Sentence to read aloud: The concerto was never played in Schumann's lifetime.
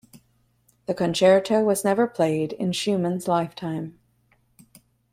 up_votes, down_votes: 2, 0